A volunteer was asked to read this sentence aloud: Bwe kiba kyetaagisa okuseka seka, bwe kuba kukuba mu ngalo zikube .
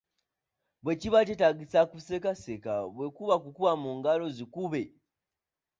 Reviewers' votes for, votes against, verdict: 2, 0, accepted